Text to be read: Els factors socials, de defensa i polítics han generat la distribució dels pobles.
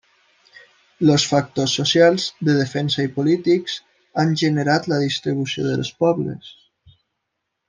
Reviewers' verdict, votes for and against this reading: rejected, 0, 2